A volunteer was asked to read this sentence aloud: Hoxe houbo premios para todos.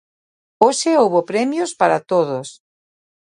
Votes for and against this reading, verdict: 2, 0, accepted